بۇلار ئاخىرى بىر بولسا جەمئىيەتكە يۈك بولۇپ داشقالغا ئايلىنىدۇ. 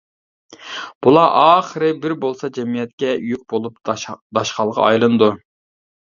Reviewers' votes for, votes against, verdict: 1, 2, rejected